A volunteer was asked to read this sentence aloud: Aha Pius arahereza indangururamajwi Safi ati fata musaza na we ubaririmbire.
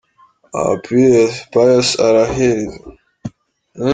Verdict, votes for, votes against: rejected, 0, 2